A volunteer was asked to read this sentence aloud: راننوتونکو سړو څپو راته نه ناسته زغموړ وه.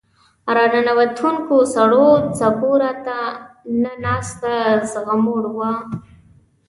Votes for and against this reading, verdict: 0, 2, rejected